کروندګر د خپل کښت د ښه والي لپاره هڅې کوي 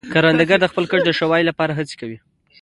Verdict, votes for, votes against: accepted, 2, 0